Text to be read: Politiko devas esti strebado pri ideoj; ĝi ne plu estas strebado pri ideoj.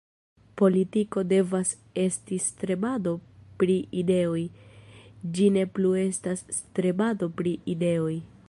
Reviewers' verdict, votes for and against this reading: rejected, 1, 2